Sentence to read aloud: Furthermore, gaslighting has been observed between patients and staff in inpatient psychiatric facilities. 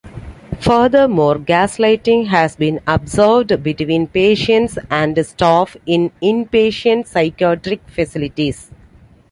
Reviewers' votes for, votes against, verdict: 2, 0, accepted